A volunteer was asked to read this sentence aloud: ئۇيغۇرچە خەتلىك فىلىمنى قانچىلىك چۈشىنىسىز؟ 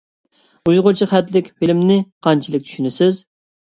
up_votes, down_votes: 2, 0